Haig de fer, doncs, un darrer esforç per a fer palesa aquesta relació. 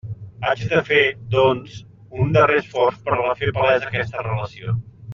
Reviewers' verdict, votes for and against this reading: rejected, 0, 2